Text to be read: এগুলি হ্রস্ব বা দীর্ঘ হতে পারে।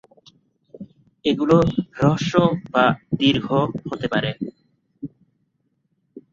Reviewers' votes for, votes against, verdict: 0, 3, rejected